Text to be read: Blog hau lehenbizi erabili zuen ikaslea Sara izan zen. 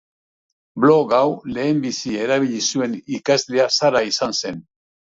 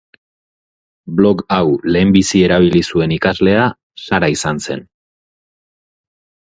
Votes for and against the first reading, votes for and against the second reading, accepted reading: 1, 2, 2, 0, second